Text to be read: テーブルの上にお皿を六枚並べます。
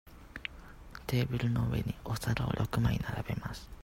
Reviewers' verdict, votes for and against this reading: accepted, 2, 0